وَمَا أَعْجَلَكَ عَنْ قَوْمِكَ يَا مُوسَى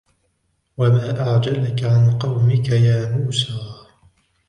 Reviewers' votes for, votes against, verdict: 2, 1, accepted